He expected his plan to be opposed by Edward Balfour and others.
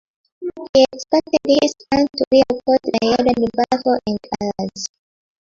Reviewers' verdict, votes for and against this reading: rejected, 0, 5